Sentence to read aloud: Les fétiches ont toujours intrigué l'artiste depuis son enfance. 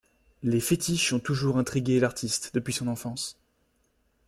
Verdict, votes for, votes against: rejected, 0, 2